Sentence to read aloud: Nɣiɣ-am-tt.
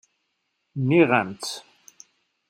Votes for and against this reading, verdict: 0, 2, rejected